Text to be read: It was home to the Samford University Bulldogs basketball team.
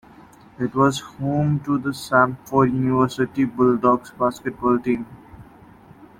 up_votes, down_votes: 2, 0